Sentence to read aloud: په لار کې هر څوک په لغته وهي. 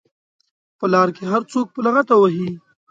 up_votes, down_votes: 3, 0